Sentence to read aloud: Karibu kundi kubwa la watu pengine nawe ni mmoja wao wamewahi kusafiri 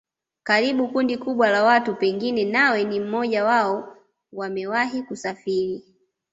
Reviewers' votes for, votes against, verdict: 2, 0, accepted